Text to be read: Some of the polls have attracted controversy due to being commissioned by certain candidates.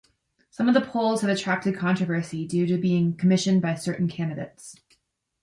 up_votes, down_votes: 2, 0